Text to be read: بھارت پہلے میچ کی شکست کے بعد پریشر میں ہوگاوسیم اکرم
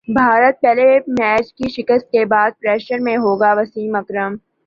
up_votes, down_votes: 5, 0